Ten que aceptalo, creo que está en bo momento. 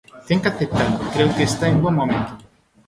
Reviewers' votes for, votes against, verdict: 2, 1, accepted